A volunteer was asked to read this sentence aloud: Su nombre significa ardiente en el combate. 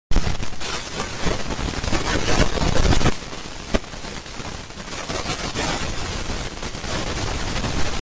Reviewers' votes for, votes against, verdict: 0, 2, rejected